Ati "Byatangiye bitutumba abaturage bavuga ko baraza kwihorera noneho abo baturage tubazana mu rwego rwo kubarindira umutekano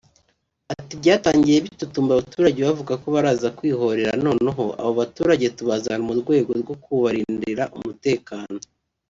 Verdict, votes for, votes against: accepted, 2, 0